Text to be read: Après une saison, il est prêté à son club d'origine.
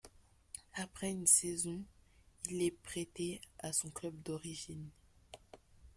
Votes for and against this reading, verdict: 1, 2, rejected